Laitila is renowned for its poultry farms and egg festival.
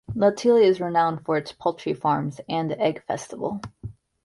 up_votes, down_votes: 2, 1